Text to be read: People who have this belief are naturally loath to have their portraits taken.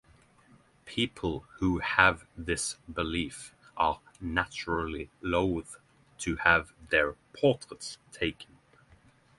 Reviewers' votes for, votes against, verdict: 6, 0, accepted